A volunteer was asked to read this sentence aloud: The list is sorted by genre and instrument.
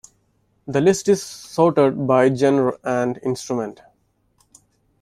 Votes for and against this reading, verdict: 2, 1, accepted